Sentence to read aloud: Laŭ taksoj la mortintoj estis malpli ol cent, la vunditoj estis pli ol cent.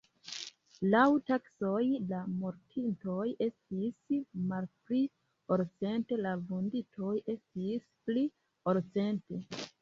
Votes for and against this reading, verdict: 0, 2, rejected